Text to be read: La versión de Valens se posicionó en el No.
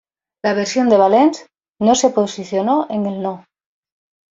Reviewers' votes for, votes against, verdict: 0, 2, rejected